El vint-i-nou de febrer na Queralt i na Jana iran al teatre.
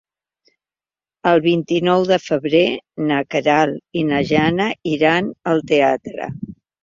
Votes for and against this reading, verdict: 3, 0, accepted